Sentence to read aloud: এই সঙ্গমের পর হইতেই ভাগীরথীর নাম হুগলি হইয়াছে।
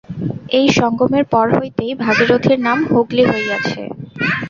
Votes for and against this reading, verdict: 2, 0, accepted